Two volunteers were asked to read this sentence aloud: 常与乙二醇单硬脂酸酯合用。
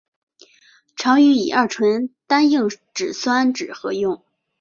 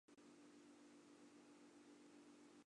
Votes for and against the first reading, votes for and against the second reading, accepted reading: 5, 0, 0, 2, first